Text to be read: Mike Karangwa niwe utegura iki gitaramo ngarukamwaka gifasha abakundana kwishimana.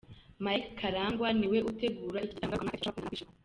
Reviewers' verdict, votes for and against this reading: rejected, 0, 2